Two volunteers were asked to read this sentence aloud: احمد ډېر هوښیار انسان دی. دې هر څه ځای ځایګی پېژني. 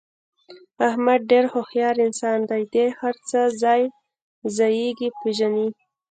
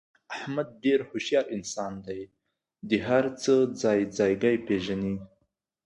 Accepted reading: second